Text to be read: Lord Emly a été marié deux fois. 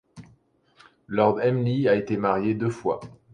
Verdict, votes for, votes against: accepted, 2, 0